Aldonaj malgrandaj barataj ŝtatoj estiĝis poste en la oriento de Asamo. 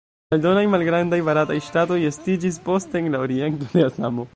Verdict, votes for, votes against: rejected, 0, 2